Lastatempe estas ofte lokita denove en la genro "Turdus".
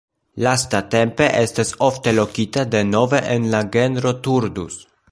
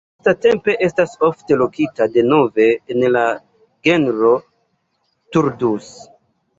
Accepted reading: first